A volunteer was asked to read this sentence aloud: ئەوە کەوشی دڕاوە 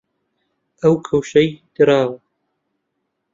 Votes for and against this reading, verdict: 0, 2, rejected